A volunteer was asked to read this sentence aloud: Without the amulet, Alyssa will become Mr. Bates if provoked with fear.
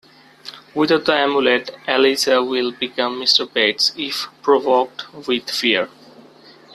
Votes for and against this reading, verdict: 2, 1, accepted